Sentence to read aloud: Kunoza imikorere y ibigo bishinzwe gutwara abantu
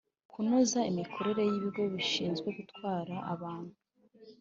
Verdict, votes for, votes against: accepted, 2, 0